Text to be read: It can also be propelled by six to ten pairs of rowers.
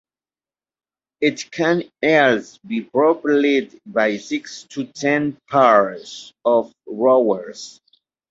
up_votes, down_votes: 1, 2